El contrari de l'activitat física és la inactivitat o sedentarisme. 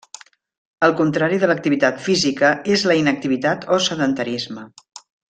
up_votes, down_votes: 3, 0